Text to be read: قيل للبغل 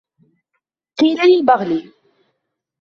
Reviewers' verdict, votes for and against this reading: accepted, 2, 0